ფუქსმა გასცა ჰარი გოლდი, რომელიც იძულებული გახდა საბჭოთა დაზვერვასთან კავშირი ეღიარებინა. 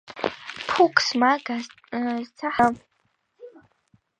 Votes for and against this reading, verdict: 0, 3, rejected